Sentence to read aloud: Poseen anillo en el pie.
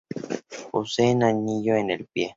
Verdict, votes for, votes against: accepted, 2, 0